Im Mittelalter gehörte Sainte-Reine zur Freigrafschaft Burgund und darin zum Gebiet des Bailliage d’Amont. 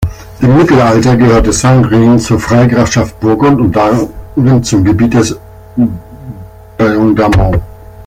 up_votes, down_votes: 0, 2